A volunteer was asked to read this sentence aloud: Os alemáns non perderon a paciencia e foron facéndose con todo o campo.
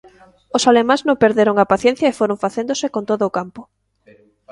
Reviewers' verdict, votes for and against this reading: rejected, 0, 2